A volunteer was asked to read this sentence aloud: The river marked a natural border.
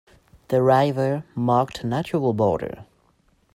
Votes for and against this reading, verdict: 1, 2, rejected